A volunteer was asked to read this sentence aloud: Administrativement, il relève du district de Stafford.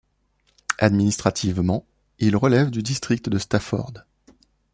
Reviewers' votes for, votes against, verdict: 2, 0, accepted